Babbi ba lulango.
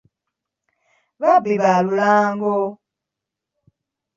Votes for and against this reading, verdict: 0, 2, rejected